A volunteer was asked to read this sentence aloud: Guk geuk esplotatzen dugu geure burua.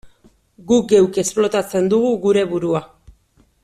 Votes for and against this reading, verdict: 2, 0, accepted